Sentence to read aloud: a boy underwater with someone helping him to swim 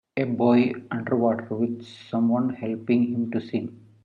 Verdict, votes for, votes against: rejected, 0, 2